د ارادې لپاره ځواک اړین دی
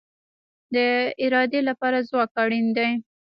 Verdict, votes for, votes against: accepted, 2, 1